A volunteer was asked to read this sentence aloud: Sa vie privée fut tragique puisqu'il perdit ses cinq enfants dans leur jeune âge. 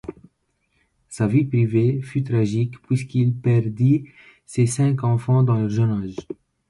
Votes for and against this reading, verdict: 1, 2, rejected